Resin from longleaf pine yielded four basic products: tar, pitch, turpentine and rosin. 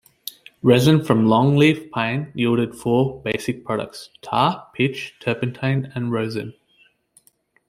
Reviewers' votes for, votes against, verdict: 2, 0, accepted